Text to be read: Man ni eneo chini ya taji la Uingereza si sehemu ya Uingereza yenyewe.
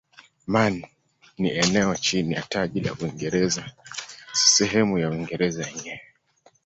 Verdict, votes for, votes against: accepted, 2, 0